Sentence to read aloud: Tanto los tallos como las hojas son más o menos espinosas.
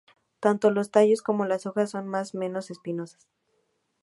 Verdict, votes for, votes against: rejected, 0, 2